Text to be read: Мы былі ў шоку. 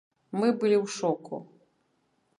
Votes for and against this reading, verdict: 2, 0, accepted